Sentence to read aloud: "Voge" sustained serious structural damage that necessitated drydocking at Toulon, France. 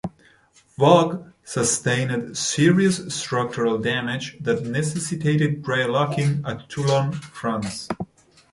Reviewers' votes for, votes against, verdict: 2, 0, accepted